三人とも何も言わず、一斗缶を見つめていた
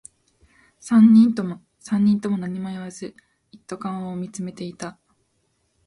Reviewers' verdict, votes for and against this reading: rejected, 1, 2